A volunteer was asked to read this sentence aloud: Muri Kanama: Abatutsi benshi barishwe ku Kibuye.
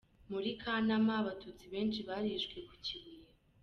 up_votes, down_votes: 0, 2